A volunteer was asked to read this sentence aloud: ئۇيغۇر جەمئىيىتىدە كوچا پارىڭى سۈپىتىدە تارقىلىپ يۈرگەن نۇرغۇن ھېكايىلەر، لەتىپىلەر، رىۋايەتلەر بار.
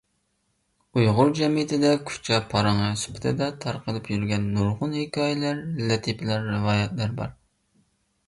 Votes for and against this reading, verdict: 0, 2, rejected